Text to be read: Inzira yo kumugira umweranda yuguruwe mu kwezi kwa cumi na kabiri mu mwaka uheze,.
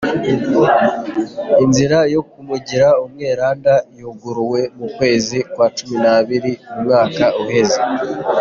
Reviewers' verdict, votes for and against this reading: rejected, 0, 2